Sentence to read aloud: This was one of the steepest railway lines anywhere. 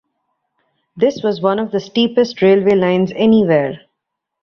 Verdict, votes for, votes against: rejected, 1, 2